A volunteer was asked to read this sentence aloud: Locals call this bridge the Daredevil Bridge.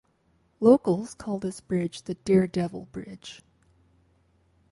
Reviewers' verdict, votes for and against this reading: accepted, 4, 0